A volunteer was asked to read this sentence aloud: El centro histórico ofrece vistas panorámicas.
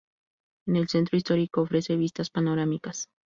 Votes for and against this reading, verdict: 2, 4, rejected